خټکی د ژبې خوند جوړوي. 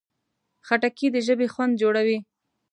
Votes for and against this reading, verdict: 2, 0, accepted